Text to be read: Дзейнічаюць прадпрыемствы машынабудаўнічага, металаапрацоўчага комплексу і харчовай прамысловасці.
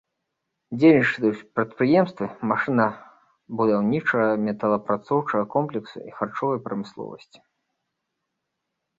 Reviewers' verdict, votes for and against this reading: rejected, 1, 2